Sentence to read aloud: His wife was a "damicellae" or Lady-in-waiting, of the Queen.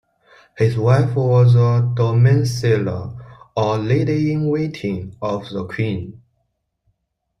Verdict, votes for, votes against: accepted, 2, 0